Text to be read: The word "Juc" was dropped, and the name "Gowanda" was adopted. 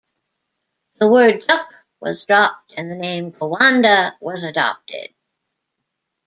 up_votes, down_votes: 0, 2